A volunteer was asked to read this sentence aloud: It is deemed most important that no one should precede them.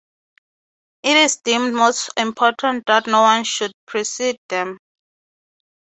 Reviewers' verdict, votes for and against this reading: accepted, 3, 0